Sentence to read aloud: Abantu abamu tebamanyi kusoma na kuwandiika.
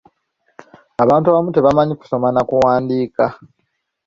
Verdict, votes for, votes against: accepted, 2, 0